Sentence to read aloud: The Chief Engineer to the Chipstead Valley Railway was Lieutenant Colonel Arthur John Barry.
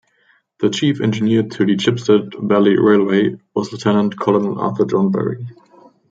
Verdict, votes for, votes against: rejected, 1, 2